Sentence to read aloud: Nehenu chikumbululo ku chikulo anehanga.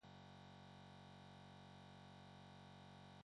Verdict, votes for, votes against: rejected, 0, 2